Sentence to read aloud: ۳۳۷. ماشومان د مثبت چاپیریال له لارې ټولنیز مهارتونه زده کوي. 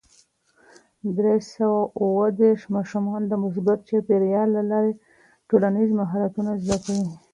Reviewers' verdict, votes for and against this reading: rejected, 0, 2